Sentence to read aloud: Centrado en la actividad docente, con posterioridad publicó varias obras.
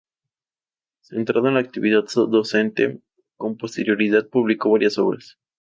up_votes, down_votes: 0, 2